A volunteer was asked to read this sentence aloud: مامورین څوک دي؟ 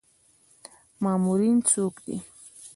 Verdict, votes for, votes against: accepted, 2, 0